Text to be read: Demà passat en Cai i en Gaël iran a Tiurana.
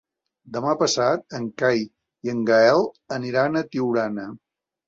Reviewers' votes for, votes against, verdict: 1, 3, rejected